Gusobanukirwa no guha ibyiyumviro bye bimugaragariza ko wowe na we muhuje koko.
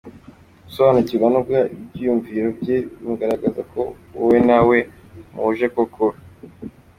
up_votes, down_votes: 2, 0